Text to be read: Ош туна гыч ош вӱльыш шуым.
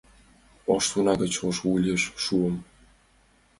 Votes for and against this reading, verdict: 1, 2, rejected